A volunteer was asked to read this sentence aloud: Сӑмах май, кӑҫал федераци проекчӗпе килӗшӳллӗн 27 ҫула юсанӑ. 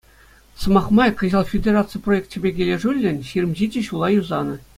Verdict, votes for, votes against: rejected, 0, 2